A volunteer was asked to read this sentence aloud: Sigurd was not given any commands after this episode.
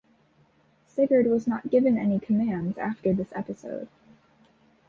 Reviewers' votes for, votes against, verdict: 2, 0, accepted